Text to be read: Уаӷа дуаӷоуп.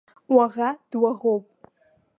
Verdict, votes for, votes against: accepted, 2, 0